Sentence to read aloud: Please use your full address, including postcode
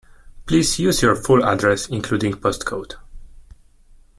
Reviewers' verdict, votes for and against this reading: accepted, 2, 0